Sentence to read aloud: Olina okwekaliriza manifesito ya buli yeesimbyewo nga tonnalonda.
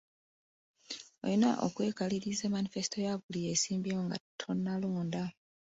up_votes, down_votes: 2, 0